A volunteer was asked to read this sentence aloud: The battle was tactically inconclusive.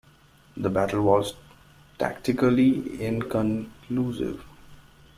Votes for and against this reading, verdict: 2, 0, accepted